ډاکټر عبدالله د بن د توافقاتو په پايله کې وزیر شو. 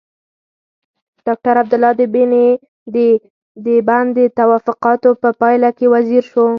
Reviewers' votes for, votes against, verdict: 2, 4, rejected